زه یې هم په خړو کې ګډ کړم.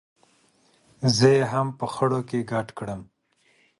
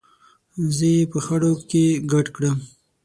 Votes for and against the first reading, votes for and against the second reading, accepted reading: 2, 0, 6, 9, first